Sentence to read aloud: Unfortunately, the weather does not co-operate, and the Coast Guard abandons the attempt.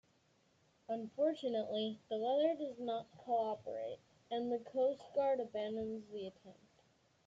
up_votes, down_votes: 1, 2